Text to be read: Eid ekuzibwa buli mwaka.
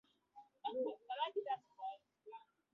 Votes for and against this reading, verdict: 0, 2, rejected